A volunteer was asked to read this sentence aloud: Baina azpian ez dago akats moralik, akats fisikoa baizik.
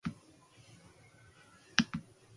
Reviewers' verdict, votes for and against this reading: rejected, 0, 2